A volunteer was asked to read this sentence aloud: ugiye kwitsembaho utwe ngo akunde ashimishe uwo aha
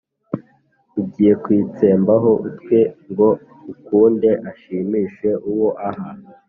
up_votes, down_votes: 2, 0